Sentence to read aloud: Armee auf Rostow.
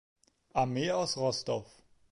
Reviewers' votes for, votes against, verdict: 0, 2, rejected